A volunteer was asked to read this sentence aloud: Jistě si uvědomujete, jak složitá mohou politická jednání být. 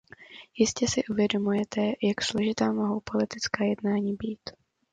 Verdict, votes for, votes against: accepted, 2, 0